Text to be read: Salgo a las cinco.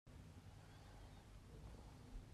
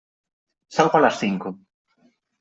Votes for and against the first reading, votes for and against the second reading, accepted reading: 0, 2, 3, 0, second